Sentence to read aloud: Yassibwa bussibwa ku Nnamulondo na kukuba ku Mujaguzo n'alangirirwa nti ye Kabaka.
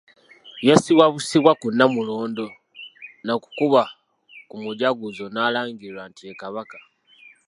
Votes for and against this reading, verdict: 2, 0, accepted